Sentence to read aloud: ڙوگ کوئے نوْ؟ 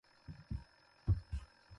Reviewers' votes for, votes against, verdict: 0, 2, rejected